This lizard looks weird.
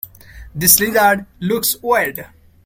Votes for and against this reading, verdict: 2, 0, accepted